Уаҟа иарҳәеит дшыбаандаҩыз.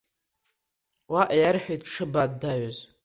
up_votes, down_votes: 2, 1